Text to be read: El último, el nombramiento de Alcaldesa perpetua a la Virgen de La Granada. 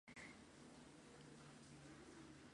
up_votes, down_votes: 0, 2